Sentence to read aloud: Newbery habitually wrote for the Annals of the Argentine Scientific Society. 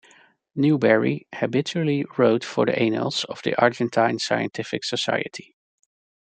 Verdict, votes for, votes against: rejected, 1, 2